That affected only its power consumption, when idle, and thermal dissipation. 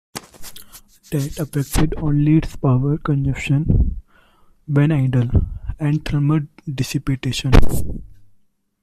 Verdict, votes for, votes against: rejected, 0, 2